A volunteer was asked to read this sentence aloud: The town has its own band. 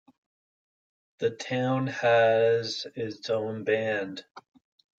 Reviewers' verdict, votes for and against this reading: accepted, 2, 1